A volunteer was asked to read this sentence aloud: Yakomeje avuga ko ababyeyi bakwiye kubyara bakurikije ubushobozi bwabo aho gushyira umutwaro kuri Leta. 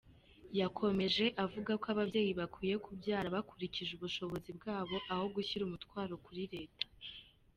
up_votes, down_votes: 2, 0